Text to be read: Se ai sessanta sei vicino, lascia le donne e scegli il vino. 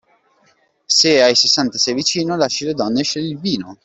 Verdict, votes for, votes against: accepted, 2, 1